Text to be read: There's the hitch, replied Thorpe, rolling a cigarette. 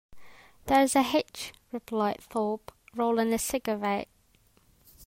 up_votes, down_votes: 2, 0